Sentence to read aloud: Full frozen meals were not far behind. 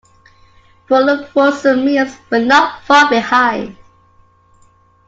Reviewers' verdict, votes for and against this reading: accepted, 2, 1